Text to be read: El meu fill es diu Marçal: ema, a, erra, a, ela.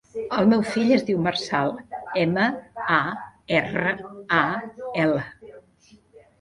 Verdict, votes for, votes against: rejected, 1, 2